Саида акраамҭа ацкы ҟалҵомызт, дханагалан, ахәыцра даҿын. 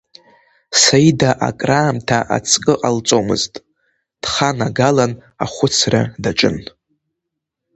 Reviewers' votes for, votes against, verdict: 0, 2, rejected